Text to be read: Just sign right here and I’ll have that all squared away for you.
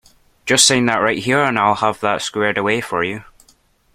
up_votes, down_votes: 1, 2